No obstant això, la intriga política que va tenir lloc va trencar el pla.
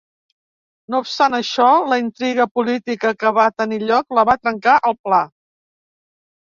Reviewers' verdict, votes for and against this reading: rejected, 0, 3